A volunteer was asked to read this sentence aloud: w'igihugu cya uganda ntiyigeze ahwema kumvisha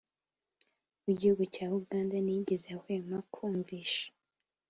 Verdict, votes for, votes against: accepted, 2, 0